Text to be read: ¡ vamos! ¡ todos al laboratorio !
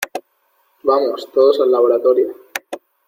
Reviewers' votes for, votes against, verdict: 2, 0, accepted